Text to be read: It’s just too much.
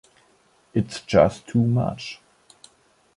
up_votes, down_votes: 2, 0